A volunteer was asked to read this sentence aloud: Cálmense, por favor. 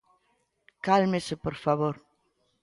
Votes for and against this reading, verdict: 1, 2, rejected